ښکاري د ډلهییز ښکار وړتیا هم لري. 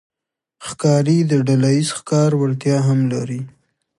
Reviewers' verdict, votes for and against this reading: accepted, 2, 0